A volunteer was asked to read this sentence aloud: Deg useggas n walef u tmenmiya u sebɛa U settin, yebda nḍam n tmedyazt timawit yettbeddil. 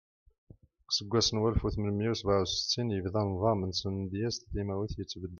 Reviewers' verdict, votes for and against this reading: rejected, 1, 2